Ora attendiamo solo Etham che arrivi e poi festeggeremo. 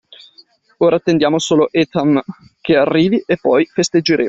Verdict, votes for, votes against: rejected, 1, 2